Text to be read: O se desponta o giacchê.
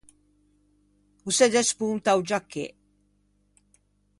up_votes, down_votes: 0, 2